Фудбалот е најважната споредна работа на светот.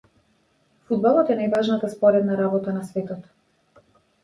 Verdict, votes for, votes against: accepted, 2, 0